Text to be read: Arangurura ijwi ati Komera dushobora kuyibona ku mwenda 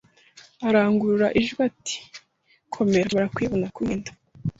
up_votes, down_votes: 0, 2